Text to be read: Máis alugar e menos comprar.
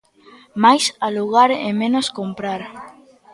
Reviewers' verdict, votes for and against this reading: rejected, 1, 2